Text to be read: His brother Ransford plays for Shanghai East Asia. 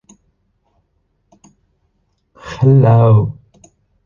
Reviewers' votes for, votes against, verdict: 0, 2, rejected